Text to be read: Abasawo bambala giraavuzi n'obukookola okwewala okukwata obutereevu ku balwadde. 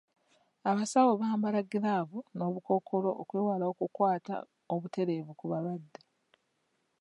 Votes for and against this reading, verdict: 0, 2, rejected